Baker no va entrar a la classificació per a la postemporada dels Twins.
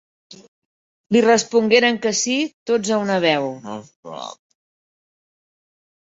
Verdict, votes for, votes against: rejected, 0, 3